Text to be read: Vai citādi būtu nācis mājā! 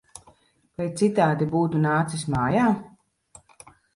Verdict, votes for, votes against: accepted, 3, 0